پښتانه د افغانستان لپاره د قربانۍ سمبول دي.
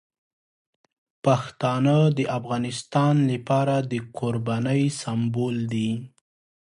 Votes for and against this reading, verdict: 3, 0, accepted